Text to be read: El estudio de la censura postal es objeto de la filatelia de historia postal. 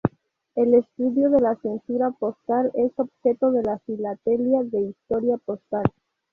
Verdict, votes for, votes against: accepted, 2, 0